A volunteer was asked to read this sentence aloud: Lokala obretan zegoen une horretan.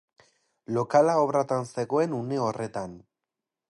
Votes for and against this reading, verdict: 0, 4, rejected